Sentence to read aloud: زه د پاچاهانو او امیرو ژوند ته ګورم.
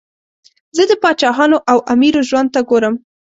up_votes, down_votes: 2, 0